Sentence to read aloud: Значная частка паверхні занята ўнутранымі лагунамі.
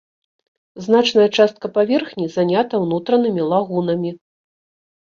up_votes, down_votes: 2, 0